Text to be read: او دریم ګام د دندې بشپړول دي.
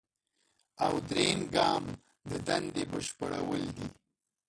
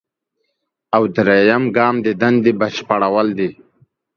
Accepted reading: second